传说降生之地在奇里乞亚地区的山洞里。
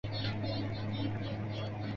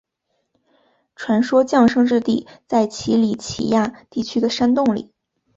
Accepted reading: second